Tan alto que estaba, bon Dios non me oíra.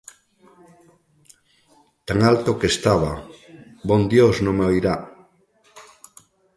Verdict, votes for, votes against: rejected, 0, 2